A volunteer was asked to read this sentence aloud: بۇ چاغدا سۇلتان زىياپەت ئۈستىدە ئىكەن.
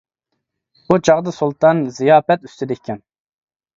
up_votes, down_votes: 2, 0